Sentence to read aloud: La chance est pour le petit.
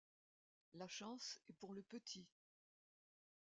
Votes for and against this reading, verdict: 2, 0, accepted